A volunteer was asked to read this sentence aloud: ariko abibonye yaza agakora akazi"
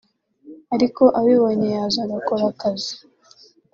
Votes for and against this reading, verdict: 2, 0, accepted